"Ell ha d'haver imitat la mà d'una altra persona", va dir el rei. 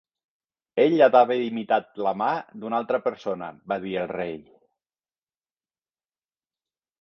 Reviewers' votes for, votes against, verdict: 2, 0, accepted